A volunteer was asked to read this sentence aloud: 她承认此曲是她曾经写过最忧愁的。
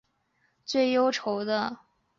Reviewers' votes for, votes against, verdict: 0, 2, rejected